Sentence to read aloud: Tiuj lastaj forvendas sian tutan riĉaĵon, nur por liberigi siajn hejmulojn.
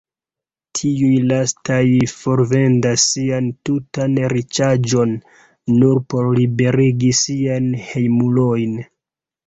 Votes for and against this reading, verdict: 0, 2, rejected